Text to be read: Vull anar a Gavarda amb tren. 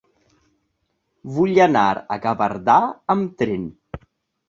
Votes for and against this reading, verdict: 0, 2, rejected